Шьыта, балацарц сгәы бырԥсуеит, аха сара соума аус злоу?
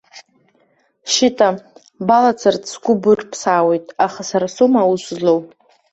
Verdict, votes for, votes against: rejected, 0, 2